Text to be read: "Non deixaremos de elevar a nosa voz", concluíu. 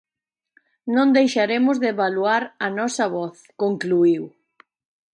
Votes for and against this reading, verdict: 0, 2, rejected